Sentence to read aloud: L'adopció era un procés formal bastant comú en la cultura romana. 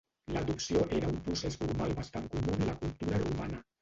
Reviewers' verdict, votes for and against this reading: rejected, 1, 2